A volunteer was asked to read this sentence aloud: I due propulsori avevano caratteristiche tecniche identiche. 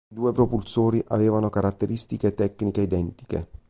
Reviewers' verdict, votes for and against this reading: accepted, 3, 1